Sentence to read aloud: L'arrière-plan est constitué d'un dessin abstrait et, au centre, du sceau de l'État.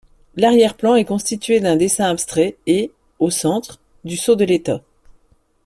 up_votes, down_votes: 2, 0